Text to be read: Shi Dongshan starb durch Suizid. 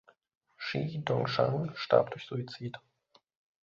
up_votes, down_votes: 2, 0